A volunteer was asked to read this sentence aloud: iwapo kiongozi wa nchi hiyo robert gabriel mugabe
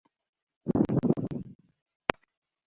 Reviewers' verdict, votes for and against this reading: rejected, 0, 2